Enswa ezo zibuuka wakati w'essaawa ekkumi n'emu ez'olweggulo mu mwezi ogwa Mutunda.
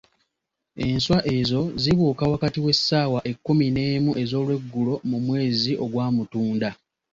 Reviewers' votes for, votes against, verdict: 2, 0, accepted